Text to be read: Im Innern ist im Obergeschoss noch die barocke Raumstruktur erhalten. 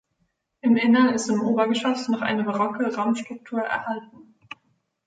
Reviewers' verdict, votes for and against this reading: rejected, 1, 2